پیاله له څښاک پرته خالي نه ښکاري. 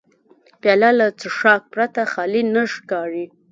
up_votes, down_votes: 1, 2